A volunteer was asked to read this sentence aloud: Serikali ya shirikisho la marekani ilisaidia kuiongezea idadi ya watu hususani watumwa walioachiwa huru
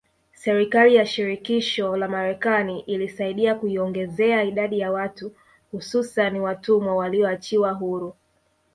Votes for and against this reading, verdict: 2, 1, accepted